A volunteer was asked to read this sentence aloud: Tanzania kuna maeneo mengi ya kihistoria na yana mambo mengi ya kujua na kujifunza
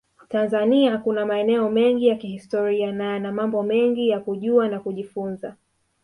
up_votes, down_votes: 1, 2